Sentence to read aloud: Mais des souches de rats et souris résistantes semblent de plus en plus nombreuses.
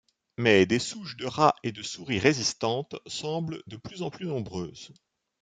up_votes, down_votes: 0, 2